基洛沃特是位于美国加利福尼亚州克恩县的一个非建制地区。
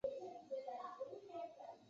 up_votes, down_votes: 0, 2